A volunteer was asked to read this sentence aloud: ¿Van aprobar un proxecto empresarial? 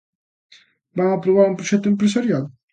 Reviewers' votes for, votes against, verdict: 2, 0, accepted